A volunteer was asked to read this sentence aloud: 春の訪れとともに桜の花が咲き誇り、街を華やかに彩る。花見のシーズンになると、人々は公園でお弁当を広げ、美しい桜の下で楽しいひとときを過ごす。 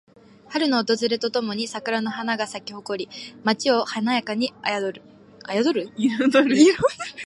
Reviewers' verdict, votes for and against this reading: rejected, 1, 3